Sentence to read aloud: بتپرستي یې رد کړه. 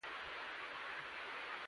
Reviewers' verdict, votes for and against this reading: rejected, 0, 2